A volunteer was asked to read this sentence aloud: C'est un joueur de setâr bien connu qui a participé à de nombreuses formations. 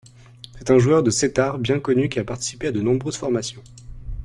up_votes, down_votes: 2, 0